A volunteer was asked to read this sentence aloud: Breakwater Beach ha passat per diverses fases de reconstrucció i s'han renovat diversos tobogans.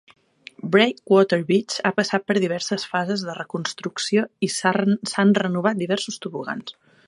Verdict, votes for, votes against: rejected, 1, 2